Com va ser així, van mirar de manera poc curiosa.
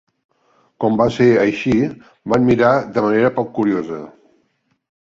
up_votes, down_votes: 4, 0